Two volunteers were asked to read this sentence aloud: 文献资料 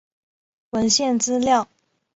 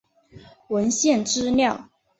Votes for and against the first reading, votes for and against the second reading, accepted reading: 4, 0, 1, 2, first